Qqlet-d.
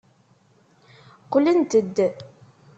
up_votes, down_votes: 0, 2